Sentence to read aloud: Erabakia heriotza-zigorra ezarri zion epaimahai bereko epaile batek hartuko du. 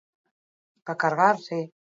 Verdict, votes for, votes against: rejected, 0, 4